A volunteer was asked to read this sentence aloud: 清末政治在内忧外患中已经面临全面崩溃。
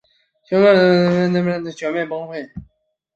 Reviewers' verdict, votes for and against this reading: rejected, 1, 2